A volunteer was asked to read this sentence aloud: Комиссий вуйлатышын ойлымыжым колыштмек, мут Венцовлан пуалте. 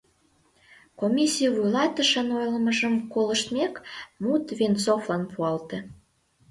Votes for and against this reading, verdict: 2, 0, accepted